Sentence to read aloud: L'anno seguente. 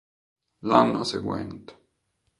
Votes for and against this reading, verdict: 2, 0, accepted